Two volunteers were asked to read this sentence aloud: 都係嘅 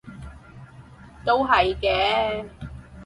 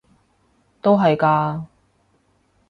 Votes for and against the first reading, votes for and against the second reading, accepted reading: 6, 0, 0, 3, first